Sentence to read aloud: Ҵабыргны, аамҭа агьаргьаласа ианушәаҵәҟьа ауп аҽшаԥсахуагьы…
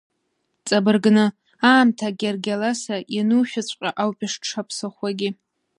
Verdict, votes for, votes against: rejected, 1, 2